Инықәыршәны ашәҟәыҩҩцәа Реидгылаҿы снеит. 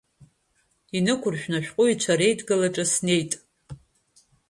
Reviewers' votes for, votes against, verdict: 2, 0, accepted